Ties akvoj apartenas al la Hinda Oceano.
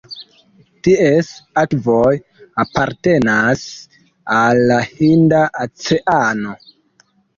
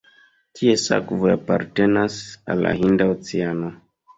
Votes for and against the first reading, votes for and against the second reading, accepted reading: 1, 2, 2, 1, second